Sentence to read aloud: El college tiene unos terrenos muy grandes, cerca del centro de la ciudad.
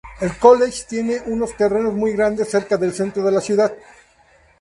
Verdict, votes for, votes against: accepted, 2, 0